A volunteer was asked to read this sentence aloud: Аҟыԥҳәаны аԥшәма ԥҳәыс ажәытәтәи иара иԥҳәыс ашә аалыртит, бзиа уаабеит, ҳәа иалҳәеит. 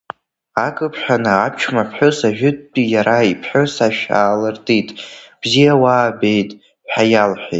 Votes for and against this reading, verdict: 1, 2, rejected